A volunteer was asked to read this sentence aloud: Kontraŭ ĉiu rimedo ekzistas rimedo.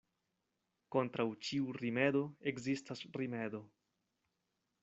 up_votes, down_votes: 2, 0